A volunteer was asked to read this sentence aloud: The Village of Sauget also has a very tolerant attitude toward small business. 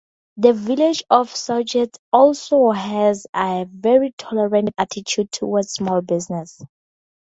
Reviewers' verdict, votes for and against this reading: accepted, 2, 0